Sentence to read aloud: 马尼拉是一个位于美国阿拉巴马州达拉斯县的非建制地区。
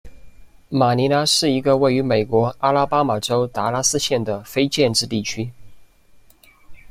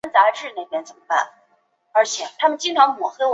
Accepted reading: first